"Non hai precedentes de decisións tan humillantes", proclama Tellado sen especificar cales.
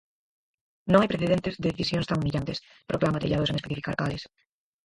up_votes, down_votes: 0, 4